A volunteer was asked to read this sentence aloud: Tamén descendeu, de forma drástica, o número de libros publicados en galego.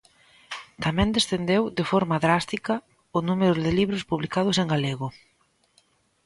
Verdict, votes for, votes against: accepted, 2, 0